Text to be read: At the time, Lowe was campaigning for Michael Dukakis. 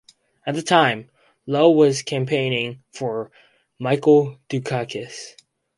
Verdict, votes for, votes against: accepted, 4, 0